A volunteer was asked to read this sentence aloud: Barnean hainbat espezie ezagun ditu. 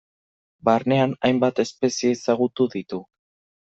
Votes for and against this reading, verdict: 1, 2, rejected